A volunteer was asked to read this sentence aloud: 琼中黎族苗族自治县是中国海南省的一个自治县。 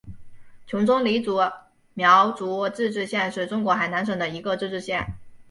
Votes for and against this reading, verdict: 1, 2, rejected